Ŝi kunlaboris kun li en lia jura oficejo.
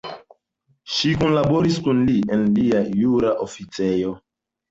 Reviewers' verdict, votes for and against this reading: rejected, 0, 2